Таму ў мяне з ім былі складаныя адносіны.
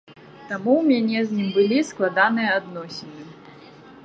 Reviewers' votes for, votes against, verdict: 1, 2, rejected